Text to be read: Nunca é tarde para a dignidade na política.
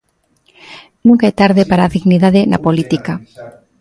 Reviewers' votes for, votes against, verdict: 2, 0, accepted